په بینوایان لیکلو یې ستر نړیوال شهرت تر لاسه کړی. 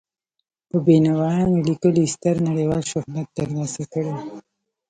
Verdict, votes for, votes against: rejected, 1, 2